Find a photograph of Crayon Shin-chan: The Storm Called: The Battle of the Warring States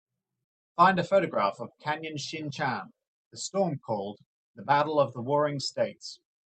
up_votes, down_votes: 0, 2